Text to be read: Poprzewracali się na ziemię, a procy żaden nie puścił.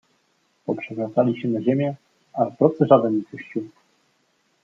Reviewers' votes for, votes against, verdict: 1, 2, rejected